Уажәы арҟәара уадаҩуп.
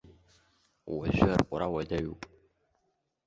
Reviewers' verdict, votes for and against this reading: rejected, 1, 2